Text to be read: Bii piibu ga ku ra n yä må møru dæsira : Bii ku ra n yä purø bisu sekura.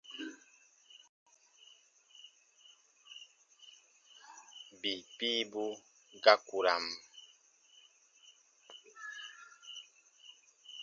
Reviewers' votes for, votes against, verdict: 0, 2, rejected